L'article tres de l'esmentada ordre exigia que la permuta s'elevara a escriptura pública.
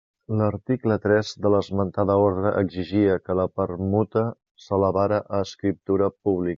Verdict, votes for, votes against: rejected, 0, 2